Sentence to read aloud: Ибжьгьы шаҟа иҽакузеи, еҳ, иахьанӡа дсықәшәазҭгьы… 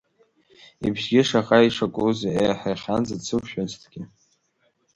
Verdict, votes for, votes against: rejected, 1, 2